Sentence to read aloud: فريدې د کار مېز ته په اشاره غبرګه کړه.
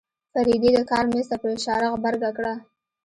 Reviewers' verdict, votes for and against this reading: accepted, 2, 0